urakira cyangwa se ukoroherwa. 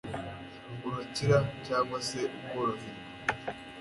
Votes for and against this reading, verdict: 2, 0, accepted